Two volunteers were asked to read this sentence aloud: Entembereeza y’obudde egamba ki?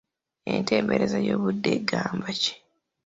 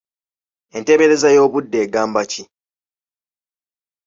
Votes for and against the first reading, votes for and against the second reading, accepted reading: 2, 0, 1, 2, first